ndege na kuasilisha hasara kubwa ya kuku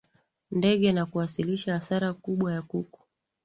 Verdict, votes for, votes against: accepted, 6, 4